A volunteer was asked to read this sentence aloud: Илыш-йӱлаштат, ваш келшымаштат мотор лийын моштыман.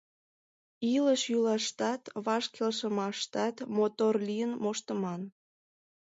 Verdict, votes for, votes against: accepted, 2, 0